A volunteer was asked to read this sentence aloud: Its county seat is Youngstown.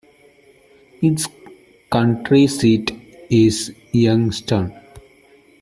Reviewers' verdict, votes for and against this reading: rejected, 0, 2